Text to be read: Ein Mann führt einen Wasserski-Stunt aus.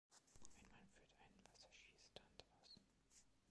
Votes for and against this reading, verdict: 0, 2, rejected